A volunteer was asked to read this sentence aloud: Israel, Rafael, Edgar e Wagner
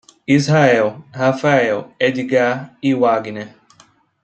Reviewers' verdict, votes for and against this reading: rejected, 1, 2